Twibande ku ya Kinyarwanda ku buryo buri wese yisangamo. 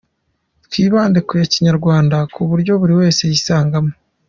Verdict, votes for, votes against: accepted, 2, 0